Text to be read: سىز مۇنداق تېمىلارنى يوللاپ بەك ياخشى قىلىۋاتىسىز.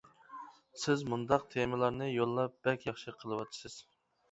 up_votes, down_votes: 2, 0